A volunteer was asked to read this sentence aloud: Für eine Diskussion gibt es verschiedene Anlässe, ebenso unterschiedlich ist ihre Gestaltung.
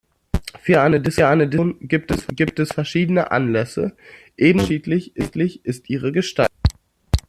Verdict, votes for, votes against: rejected, 0, 2